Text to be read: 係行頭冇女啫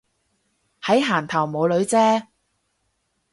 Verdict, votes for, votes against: rejected, 0, 4